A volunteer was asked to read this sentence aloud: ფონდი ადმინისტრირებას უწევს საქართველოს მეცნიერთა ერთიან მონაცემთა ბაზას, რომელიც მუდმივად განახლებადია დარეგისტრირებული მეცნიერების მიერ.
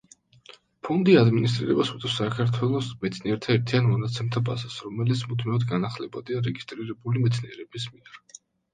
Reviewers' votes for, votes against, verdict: 1, 2, rejected